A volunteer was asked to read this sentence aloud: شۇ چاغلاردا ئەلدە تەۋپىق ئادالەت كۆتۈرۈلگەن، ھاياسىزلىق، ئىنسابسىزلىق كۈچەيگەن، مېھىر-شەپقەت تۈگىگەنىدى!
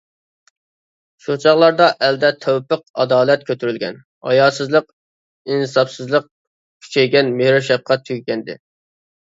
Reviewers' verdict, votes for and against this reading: accepted, 2, 0